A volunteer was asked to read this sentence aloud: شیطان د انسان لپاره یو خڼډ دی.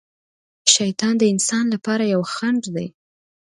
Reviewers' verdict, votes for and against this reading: accepted, 2, 1